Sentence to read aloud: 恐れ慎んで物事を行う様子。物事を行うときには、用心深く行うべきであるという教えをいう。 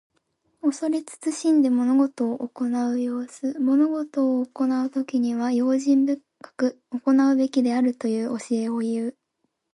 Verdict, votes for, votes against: accepted, 2, 0